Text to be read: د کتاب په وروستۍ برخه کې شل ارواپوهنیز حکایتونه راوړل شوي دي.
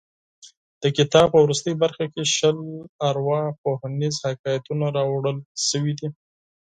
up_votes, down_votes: 4, 0